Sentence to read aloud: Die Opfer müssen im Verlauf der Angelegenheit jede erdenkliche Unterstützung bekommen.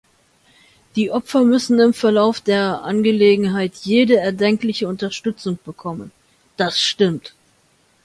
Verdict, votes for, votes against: rejected, 0, 2